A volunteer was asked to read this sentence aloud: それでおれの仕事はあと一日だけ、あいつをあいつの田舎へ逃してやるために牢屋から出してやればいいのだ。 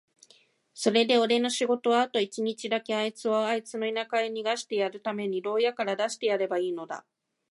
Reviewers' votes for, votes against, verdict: 2, 0, accepted